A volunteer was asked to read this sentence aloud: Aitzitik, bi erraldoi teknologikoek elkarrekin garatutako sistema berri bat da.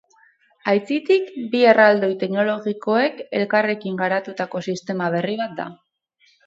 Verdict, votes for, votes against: rejected, 4, 4